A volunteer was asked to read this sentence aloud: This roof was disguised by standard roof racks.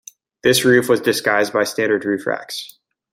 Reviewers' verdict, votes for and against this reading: rejected, 1, 2